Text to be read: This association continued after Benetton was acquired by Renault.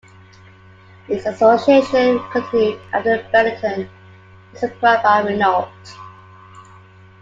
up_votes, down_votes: 2, 1